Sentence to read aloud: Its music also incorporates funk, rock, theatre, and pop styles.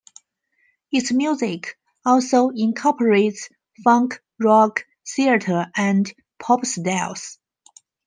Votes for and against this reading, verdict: 2, 1, accepted